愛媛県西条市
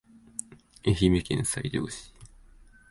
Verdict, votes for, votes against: accepted, 2, 0